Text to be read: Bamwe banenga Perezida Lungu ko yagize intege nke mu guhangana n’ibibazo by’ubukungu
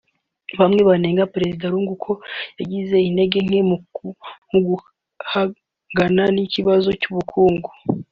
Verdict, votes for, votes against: rejected, 2, 3